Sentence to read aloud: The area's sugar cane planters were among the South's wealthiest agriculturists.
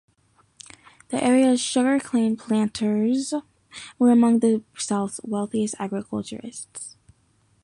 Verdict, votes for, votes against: rejected, 1, 2